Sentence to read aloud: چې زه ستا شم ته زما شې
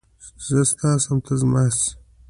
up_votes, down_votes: 2, 0